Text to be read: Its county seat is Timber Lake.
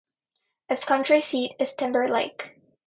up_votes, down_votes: 0, 2